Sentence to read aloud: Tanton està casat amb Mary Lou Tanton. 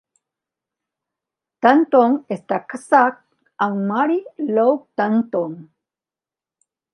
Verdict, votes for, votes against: rejected, 0, 2